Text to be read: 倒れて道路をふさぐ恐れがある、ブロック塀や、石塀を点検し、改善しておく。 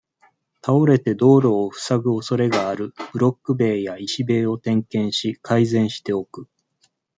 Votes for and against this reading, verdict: 1, 2, rejected